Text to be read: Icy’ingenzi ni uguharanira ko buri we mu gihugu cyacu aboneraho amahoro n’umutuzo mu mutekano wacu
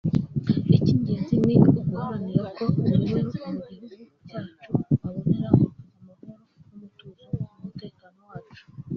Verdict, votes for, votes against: rejected, 0, 2